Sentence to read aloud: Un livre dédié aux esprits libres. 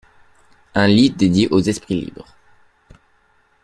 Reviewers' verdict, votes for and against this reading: rejected, 1, 2